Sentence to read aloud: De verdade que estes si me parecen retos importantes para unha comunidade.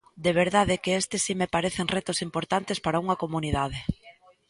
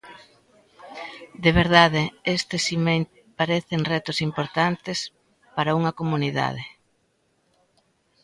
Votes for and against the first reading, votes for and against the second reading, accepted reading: 2, 0, 0, 2, first